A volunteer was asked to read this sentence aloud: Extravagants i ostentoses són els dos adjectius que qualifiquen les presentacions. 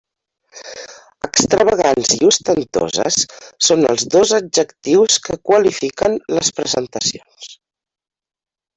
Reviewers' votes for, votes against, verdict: 0, 2, rejected